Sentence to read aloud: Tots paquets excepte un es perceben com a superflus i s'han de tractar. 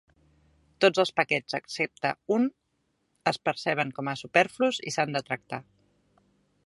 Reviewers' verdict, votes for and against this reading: rejected, 0, 2